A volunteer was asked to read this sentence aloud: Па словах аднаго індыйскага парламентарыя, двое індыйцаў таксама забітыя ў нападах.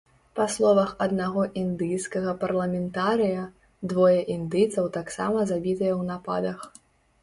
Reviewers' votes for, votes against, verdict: 2, 0, accepted